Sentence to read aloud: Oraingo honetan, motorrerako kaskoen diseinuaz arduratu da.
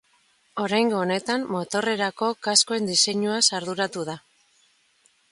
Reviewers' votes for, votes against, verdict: 2, 0, accepted